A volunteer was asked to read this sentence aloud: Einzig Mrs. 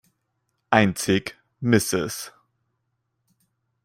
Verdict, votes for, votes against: rejected, 1, 2